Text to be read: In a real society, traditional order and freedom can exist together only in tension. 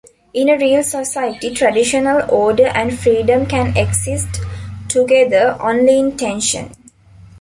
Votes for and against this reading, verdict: 1, 2, rejected